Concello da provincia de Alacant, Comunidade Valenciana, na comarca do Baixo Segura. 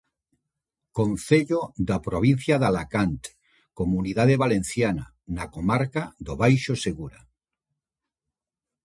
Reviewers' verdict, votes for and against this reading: accepted, 2, 0